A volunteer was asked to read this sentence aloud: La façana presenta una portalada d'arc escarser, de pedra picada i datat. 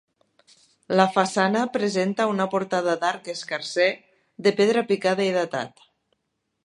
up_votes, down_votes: 0, 2